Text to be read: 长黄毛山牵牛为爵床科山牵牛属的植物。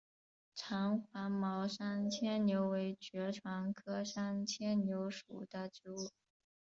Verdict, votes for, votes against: accepted, 2, 0